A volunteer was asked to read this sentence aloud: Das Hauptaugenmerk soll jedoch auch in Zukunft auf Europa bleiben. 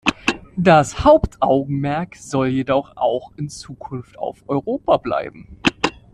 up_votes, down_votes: 2, 0